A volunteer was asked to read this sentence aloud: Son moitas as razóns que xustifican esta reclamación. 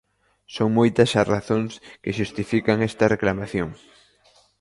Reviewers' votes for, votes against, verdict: 2, 1, accepted